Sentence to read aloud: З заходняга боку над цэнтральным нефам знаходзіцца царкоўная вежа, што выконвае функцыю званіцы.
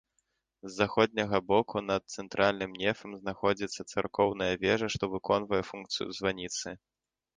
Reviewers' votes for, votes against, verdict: 2, 0, accepted